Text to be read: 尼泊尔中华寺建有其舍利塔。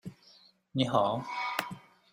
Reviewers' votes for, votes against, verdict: 0, 2, rejected